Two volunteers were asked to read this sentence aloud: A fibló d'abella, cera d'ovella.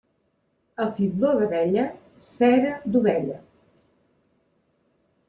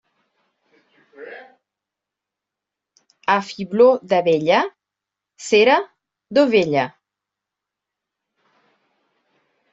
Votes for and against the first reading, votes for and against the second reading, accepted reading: 2, 0, 1, 2, first